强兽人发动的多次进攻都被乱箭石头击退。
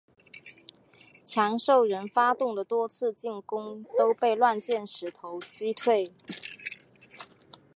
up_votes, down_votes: 1, 2